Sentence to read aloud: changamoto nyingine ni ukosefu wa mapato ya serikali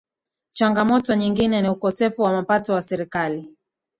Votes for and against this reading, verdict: 11, 0, accepted